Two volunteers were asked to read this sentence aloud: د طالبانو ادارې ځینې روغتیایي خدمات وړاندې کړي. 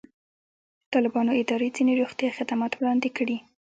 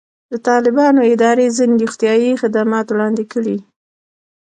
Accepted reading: second